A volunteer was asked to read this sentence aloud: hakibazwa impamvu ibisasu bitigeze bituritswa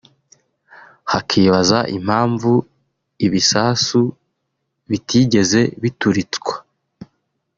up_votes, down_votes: 1, 2